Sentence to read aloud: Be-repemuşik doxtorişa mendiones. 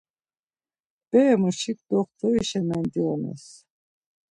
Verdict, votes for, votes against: rejected, 0, 2